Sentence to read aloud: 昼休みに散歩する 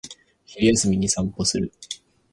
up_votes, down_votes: 2, 2